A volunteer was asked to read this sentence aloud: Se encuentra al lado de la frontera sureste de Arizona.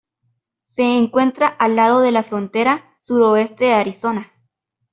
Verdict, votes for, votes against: rejected, 0, 2